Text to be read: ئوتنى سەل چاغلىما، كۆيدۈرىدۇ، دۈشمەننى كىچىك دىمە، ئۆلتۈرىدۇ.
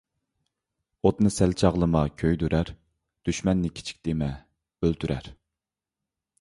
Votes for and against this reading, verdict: 1, 2, rejected